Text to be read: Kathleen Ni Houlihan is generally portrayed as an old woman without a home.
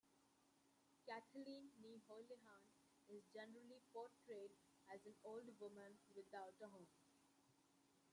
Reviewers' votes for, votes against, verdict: 0, 2, rejected